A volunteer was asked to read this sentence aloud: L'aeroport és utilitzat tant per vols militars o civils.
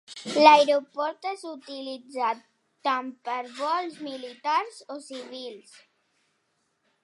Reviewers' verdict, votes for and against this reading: rejected, 0, 2